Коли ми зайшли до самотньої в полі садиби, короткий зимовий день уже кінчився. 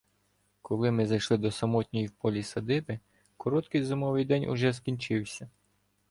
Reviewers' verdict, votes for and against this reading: rejected, 1, 2